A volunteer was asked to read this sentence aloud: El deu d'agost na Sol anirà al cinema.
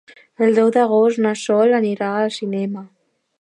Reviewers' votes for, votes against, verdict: 2, 0, accepted